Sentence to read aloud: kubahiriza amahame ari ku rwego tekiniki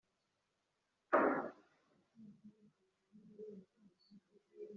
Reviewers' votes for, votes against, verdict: 1, 3, rejected